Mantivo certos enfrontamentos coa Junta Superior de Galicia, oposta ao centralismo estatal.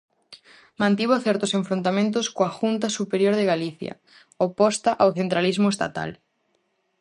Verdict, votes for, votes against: accepted, 2, 0